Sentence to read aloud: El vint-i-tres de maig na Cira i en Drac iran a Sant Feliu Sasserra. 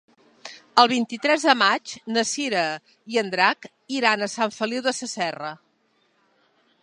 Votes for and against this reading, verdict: 0, 2, rejected